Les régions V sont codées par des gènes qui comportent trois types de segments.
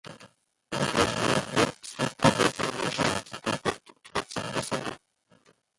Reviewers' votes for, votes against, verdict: 0, 2, rejected